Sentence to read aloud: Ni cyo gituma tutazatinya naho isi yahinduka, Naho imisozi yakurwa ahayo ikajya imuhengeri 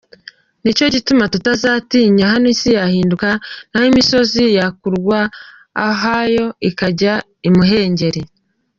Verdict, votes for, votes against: accepted, 2, 1